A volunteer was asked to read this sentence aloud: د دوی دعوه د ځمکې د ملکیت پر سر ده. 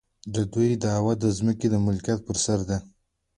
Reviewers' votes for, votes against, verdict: 2, 0, accepted